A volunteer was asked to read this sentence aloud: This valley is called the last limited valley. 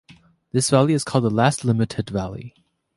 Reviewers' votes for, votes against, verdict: 2, 0, accepted